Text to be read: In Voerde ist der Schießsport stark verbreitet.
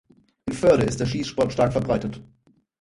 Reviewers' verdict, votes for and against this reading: accepted, 4, 0